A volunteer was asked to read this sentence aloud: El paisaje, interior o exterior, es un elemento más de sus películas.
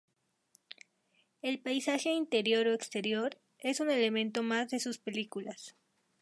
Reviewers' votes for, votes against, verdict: 2, 0, accepted